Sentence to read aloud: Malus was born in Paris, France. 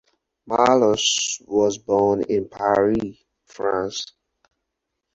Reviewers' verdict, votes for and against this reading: rejected, 2, 4